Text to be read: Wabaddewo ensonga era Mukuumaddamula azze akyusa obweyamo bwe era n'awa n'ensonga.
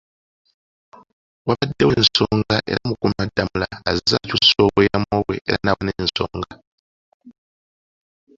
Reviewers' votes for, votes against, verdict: 0, 2, rejected